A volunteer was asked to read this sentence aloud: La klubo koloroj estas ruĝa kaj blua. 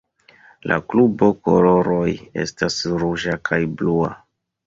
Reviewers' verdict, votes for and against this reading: accepted, 2, 1